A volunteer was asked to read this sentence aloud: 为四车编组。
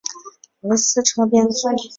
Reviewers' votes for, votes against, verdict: 2, 3, rejected